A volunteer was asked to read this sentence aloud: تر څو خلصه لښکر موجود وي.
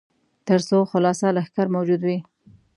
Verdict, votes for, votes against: accepted, 2, 1